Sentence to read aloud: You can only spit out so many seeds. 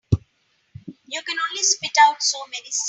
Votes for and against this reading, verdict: 2, 5, rejected